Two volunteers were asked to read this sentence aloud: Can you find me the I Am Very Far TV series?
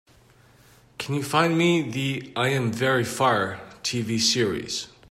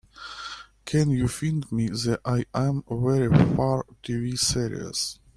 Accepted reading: first